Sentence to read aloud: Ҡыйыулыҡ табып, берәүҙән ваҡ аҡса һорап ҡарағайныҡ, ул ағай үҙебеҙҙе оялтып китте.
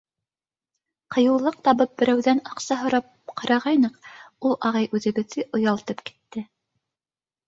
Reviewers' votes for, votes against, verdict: 2, 3, rejected